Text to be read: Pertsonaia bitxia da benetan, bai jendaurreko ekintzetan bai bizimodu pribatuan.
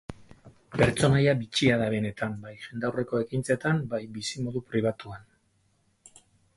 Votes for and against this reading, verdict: 2, 4, rejected